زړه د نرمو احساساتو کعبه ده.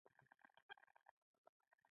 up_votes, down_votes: 2, 1